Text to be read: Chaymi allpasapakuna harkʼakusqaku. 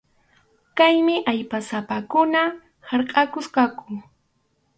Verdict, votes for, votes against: rejected, 0, 2